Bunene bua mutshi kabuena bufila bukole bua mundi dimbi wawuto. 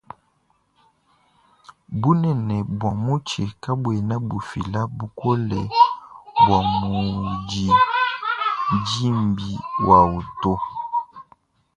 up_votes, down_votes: 2, 0